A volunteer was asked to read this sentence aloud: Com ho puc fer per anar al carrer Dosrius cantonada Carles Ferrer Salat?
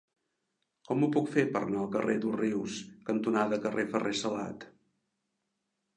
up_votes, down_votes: 0, 3